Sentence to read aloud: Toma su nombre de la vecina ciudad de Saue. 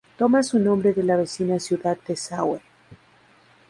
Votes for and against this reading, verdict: 4, 0, accepted